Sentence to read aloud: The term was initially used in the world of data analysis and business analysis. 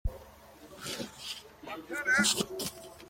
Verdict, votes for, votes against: rejected, 0, 2